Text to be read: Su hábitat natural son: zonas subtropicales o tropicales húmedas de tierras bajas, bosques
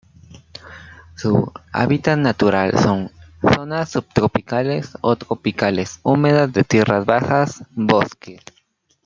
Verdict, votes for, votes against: accepted, 2, 1